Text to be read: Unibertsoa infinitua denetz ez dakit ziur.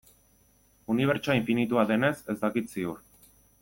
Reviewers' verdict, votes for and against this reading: accepted, 2, 0